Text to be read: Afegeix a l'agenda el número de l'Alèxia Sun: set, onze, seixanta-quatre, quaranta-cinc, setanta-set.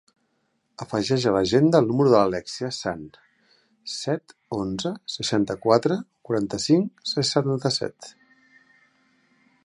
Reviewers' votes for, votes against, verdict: 0, 2, rejected